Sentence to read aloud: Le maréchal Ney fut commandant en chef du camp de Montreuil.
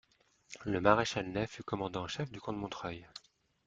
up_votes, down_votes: 1, 2